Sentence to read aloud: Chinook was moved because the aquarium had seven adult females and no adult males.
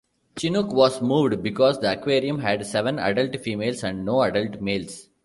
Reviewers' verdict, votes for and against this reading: accepted, 2, 0